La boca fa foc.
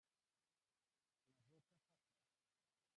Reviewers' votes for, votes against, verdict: 0, 2, rejected